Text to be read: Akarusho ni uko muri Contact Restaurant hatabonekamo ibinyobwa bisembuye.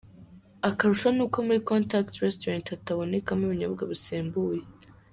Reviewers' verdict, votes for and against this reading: rejected, 0, 2